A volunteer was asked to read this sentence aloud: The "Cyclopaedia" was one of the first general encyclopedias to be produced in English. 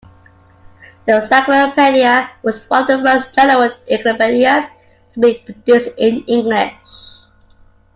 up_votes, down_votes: 0, 2